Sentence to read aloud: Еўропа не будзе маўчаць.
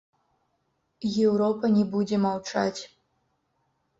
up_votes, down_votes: 0, 2